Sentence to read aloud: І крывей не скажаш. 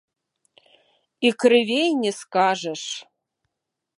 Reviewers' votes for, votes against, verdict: 2, 0, accepted